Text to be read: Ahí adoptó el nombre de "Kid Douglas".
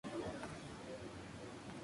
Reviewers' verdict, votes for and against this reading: rejected, 0, 2